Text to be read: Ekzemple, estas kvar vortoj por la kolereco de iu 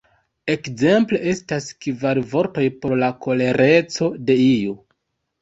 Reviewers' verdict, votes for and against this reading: accepted, 2, 1